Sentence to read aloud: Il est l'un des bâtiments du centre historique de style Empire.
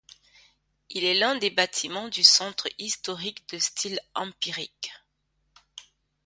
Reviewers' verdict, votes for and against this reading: rejected, 0, 2